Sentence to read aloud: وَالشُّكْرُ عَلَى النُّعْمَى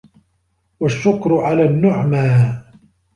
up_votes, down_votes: 2, 0